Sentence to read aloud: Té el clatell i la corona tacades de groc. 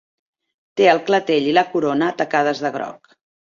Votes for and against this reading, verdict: 2, 0, accepted